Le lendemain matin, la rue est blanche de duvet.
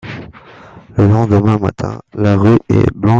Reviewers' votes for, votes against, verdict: 0, 2, rejected